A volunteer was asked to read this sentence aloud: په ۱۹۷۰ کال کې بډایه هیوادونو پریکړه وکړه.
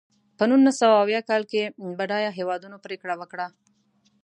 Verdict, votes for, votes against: rejected, 0, 2